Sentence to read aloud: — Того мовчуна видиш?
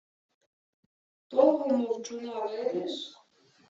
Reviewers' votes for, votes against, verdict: 2, 1, accepted